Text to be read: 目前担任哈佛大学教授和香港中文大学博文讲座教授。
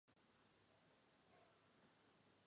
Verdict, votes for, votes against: rejected, 1, 3